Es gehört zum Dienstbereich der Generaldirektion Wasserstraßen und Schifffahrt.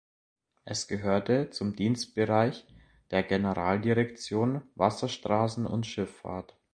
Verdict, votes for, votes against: rejected, 0, 2